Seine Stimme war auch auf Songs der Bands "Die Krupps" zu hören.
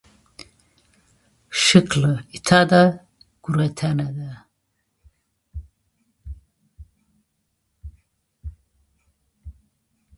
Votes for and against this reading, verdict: 0, 2, rejected